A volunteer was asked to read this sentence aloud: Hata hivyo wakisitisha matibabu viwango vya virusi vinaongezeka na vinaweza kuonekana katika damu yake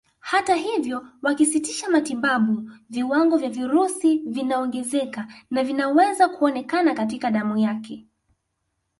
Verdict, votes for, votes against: accepted, 2, 0